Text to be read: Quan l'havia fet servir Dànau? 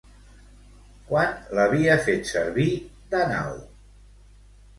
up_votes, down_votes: 2, 0